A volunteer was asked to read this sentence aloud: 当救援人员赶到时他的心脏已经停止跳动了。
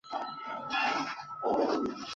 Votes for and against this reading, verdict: 3, 5, rejected